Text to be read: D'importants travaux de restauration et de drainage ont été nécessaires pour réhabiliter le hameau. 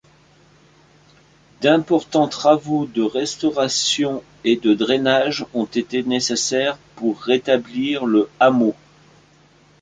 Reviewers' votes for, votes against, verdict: 0, 2, rejected